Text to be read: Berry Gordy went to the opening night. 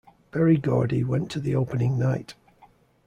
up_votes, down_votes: 2, 0